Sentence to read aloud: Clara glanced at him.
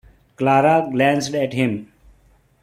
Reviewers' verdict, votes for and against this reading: rejected, 0, 2